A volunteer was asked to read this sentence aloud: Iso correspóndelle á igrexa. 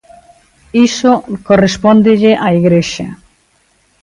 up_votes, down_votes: 2, 0